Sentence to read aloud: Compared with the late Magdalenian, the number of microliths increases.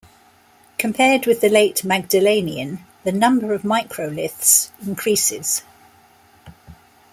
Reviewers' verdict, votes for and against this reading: accepted, 2, 0